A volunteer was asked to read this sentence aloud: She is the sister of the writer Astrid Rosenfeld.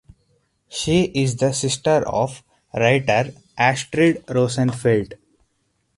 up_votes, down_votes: 0, 2